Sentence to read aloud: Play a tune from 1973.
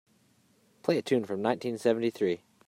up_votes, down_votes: 0, 2